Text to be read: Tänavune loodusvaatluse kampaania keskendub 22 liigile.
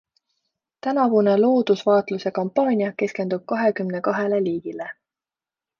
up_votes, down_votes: 0, 2